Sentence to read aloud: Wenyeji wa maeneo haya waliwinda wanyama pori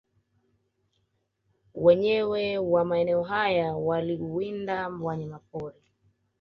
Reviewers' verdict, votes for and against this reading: accepted, 2, 0